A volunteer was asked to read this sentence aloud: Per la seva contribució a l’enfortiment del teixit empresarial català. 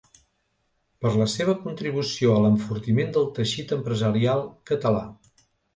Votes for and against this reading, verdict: 2, 0, accepted